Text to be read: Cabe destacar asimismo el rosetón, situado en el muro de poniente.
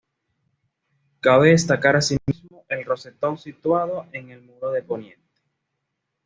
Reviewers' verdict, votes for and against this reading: rejected, 1, 2